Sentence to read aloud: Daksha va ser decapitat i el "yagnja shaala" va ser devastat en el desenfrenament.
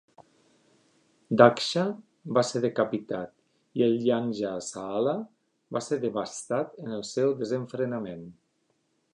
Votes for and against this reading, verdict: 1, 3, rejected